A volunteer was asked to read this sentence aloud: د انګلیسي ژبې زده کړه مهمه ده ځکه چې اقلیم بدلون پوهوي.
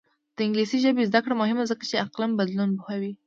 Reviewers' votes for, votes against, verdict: 2, 1, accepted